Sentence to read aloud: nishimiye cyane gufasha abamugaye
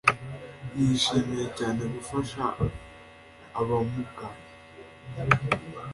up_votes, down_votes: 2, 0